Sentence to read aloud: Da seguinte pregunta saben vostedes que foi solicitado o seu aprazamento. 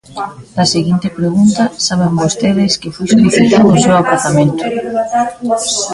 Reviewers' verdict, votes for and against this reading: rejected, 0, 2